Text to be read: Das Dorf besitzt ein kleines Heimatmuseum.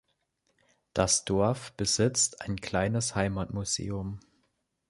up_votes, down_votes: 3, 0